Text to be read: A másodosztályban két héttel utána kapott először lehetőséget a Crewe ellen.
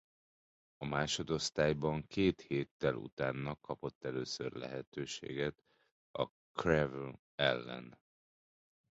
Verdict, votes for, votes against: rejected, 0, 2